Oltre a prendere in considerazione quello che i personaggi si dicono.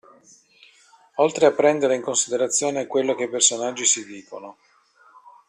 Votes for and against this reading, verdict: 2, 0, accepted